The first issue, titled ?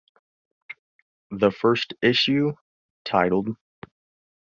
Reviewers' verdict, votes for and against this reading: accepted, 2, 0